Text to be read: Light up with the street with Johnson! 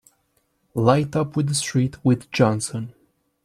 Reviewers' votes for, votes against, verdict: 2, 0, accepted